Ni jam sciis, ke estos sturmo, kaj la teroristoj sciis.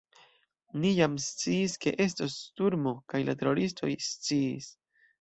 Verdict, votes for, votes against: accepted, 2, 0